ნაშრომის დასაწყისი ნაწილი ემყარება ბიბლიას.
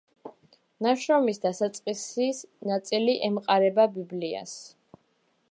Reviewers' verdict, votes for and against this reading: accepted, 2, 0